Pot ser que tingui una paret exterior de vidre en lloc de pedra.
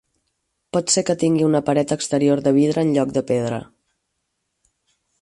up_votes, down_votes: 4, 0